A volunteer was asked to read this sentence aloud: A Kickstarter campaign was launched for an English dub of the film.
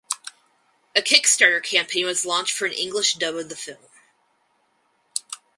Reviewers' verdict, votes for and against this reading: accepted, 4, 2